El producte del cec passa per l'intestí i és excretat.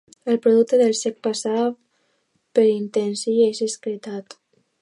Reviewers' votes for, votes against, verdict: 1, 2, rejected